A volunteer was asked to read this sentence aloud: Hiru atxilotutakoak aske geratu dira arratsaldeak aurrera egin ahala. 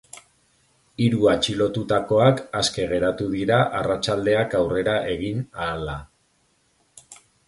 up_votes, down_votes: 2, 0